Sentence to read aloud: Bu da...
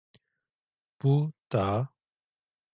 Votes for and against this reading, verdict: 1, 2, rejected